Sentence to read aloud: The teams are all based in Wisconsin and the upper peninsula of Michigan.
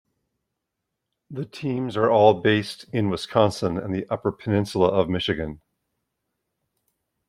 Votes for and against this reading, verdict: 2, 0, accepted